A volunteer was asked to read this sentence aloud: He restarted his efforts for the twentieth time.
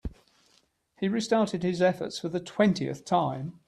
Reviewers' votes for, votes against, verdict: 2, 0, accepted